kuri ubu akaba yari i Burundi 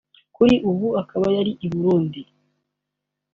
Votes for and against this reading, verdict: 2, 0, accepted